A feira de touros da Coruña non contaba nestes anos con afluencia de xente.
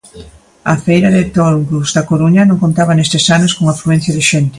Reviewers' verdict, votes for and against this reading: accepted, 2, 0